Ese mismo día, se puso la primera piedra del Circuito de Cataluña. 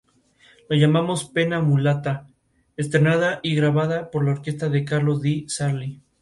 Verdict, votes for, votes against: rejected, 0, 4